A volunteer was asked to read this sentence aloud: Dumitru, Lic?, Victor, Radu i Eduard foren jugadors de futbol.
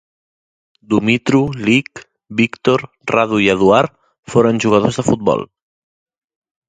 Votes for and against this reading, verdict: 0, 2, rejected